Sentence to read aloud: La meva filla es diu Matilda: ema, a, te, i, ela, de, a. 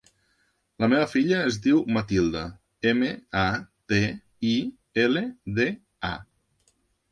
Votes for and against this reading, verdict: 0, 2, rejected